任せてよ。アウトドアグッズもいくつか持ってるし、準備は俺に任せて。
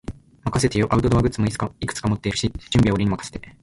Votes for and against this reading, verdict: 2, 0, accepted